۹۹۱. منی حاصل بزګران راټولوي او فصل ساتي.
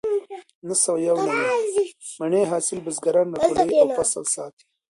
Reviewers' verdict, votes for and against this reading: rejected, 0, 2